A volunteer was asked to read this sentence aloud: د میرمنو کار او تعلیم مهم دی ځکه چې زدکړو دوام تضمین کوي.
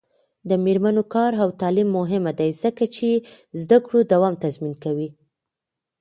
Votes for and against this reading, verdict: 2, 0, accepted